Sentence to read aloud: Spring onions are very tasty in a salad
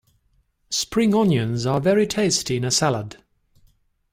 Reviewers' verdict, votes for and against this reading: accepted, 2, 0